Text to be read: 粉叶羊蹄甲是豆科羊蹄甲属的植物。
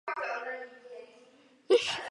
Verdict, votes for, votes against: rejected, 0, 4